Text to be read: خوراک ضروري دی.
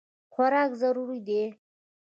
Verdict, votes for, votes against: accepted, 2, 0